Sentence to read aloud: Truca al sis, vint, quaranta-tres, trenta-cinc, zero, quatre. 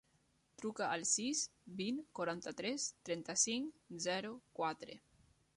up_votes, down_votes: 3, 0